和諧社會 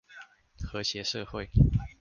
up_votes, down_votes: 2, 0